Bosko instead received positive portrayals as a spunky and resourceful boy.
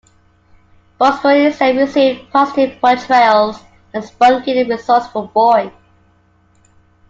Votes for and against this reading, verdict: 2, 0, accepted